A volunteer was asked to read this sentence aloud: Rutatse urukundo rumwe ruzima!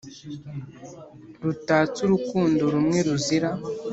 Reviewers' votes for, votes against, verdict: 1, 2, rejected